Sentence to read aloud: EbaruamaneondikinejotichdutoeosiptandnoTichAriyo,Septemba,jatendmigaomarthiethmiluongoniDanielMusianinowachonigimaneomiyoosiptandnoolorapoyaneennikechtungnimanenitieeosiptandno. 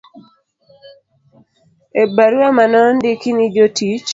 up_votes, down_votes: 0, 3